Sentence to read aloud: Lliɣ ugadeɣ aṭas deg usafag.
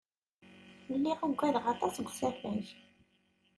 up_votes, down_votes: 0, 2